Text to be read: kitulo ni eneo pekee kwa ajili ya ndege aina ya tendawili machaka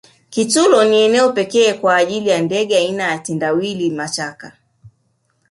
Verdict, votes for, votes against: rejected, 0, 2